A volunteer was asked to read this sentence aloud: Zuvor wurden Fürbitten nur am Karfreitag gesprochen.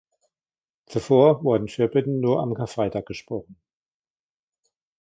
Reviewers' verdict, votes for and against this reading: rejected, 1, 2